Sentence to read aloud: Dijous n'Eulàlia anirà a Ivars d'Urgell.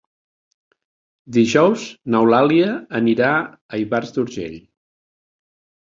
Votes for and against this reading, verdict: 3, 0, accepted